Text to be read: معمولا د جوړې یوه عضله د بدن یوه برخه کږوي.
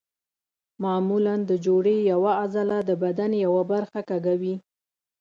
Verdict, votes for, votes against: rejected, 1, 2